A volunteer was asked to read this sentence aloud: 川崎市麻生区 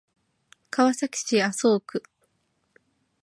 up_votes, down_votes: 2, 0